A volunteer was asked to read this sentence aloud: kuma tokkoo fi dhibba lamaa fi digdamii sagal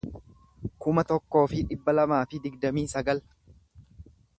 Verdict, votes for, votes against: accepted, 2, 0